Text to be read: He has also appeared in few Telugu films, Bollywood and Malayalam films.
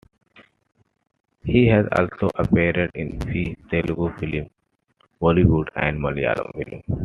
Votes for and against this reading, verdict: 2, 1, accepted